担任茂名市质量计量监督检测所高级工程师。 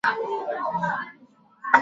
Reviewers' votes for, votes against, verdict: 3, 4, rejected